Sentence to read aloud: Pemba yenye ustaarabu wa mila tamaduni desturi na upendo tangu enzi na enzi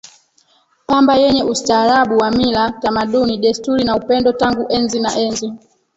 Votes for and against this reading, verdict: 0, 2, rejected